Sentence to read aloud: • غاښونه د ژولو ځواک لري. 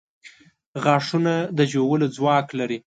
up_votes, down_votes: 2, 0